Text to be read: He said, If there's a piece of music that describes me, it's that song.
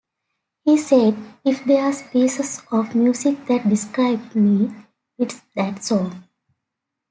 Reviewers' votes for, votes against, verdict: 1, 2, rejected